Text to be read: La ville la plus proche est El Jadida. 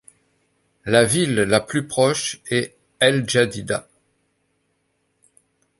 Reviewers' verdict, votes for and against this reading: accepted, 2, 0